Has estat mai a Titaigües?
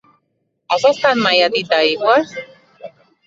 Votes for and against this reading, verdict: 1, 2, rejected